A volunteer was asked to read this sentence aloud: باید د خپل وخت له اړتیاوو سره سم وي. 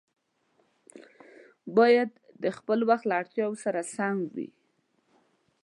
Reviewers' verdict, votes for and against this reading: accepted, 2, 0